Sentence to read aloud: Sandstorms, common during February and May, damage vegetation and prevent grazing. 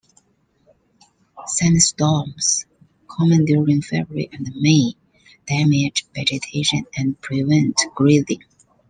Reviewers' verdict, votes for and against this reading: rejected, 0, 2